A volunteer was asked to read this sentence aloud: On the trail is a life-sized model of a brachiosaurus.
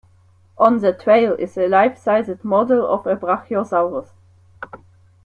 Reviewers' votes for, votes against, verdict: 2, 0, accepted